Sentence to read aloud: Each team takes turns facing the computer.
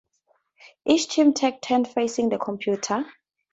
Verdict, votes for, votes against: accepted, 2, 0